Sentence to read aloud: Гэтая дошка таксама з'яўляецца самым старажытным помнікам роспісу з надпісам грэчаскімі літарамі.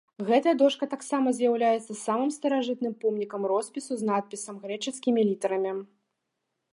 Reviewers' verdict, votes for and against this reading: accepted, 2, 0